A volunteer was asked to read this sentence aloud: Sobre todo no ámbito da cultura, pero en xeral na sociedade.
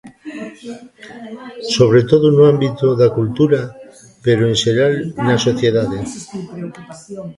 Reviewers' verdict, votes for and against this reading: rejected, 0, 2